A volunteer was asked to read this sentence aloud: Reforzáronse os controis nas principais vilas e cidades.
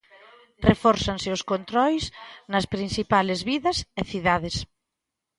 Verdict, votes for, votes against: rejected, 0, 2